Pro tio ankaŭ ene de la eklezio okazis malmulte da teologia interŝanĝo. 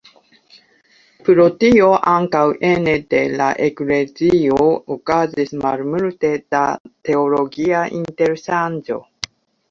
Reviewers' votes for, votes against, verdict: 2, 1, accepted